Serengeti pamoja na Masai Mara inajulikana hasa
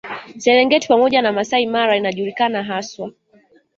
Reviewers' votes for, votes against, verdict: 3, 2, accepted